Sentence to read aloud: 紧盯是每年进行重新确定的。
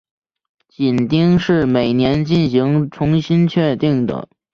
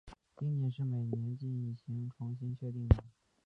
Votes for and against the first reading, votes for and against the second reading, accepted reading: 4, 0, 1, 2, first